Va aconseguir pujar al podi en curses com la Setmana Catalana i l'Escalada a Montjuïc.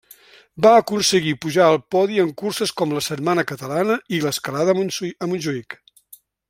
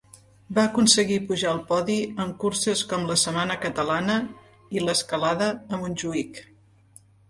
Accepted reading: second